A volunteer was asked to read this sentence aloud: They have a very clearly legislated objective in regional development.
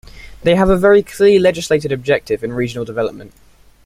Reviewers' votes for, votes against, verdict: 0, 2, rejected